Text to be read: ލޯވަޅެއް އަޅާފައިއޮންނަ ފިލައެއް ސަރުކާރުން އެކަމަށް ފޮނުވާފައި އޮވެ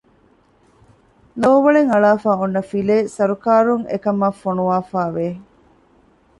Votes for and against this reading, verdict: 0, 2, rejected